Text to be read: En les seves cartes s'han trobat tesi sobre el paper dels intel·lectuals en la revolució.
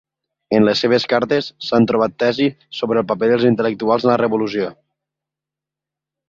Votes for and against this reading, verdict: 2, 0, accepted